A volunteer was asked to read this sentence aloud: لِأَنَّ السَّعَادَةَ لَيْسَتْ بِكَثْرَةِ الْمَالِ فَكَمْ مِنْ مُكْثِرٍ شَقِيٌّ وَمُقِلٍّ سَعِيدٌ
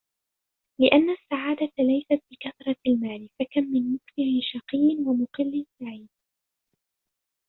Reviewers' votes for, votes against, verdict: 0, 2, rejected